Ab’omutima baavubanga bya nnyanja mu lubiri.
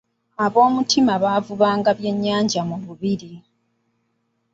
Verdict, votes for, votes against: rejected, 1, 2